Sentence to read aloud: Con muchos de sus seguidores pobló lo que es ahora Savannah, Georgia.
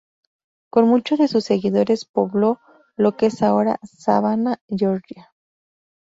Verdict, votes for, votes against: rejected, 0, 2